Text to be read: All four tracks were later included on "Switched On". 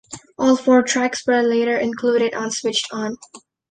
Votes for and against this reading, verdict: 2, 0, accepted